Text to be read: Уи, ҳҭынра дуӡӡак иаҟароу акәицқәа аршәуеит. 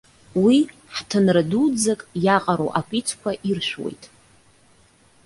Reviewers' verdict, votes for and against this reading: rejected, 1, 2